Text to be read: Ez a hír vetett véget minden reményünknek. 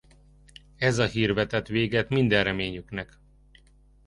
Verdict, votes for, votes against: rejected, 0, 2